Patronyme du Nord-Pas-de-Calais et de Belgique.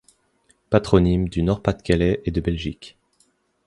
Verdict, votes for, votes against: accepted, 2, 0